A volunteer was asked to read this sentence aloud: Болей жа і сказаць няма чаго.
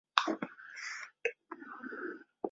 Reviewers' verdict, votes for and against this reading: rejected, 0, 2